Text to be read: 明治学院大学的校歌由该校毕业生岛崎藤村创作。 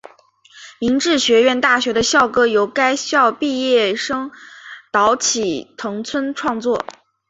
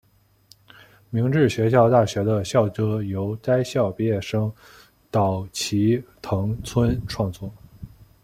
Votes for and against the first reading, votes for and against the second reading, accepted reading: 4, 0, 0, 2, first